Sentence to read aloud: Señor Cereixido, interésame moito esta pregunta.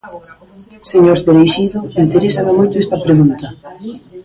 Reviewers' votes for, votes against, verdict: 1, 2, rejected